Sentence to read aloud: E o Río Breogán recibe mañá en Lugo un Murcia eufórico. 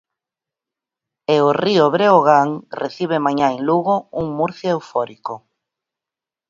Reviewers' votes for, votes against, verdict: 4, 0, accepted